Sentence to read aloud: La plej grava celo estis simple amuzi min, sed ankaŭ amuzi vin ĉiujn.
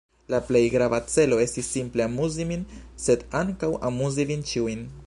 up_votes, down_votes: 2, 1